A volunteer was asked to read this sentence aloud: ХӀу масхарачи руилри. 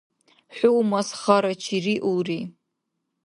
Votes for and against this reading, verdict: 0, 2, rejected